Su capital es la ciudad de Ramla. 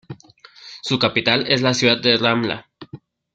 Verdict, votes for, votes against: accepted, 2, 0